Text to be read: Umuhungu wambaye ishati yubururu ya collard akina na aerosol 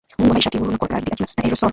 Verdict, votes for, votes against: rejected, 0, 2